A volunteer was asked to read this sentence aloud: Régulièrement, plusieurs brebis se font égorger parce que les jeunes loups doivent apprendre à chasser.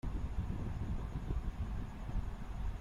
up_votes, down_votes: 0, 2